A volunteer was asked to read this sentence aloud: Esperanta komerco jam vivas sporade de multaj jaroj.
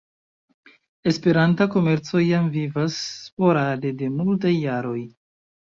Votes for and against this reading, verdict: 2, 0, accepted